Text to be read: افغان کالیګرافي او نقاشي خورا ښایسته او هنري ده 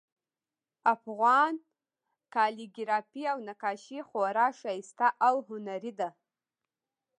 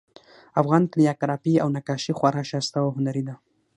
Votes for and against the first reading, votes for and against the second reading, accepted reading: 0, 2, 6, 0, second